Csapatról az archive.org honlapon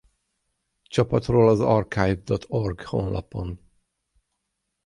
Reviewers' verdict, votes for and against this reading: rejected, 3, 3